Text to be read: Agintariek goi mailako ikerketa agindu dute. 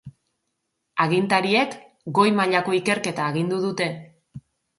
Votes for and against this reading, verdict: 3, 0, accepted